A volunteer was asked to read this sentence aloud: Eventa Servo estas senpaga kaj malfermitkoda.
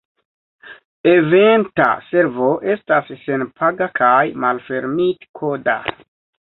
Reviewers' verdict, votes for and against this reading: rejected, 0, 2